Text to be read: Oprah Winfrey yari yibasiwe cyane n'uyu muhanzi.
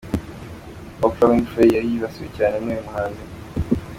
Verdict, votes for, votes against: accepted, 2, 0